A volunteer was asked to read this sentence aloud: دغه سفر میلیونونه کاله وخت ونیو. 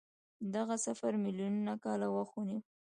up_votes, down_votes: 2, 0